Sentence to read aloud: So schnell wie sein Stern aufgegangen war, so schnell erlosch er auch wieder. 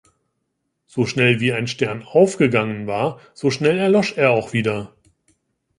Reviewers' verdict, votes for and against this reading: rejected, 0, 2